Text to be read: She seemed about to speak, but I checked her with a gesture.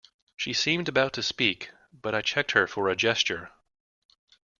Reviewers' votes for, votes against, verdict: 0, 2, rejected